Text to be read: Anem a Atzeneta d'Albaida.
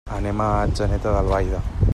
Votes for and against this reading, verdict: 3, 0, accepted